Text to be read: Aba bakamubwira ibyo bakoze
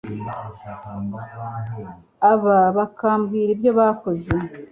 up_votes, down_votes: 2, 0